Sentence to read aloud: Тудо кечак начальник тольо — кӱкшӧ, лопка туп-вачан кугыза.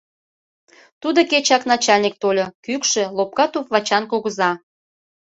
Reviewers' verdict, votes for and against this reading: accepted, 2, 0